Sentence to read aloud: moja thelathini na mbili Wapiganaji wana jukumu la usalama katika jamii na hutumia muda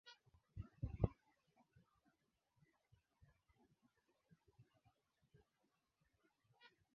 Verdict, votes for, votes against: rejected, 0, 2